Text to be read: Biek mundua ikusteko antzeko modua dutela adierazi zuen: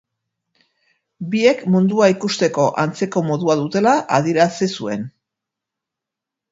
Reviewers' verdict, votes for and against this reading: accepted, 2, 0